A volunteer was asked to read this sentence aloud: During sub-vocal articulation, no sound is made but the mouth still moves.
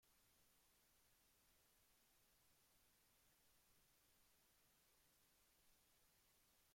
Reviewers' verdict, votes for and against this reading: rejected, 0, 2